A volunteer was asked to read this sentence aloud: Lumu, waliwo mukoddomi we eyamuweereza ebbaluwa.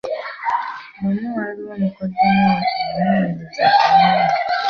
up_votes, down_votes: 1, 2